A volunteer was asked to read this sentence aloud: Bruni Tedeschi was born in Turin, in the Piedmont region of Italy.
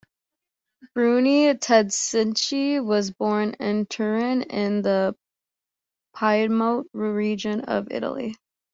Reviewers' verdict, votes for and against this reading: accepted, 2, 1